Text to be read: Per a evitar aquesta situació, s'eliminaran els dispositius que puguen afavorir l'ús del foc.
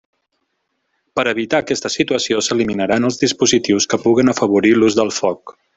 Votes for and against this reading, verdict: 2, 0, accepted